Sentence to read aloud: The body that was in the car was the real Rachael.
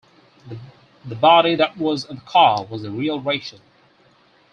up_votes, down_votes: 4, 0